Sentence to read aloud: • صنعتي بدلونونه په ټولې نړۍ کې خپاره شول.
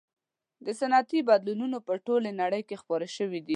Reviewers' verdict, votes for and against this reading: rejected, 1, 2